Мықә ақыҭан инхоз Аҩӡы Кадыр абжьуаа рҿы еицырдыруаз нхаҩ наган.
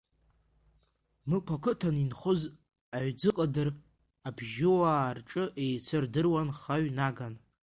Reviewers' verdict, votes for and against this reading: rejected, 0, 2